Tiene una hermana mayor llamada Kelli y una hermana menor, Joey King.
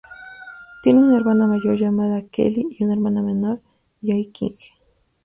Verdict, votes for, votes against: accepted, 2, 0